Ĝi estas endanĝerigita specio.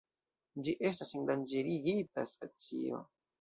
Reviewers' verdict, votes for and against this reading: accepted, 2, 0